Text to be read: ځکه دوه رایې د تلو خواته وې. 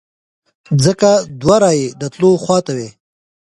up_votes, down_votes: 2, 0